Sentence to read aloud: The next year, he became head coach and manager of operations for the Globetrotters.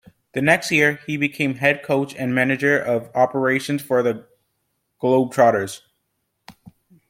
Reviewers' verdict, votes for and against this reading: accepted, 2, 0